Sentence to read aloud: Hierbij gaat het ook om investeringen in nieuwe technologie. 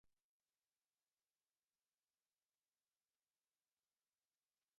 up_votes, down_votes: 0, 2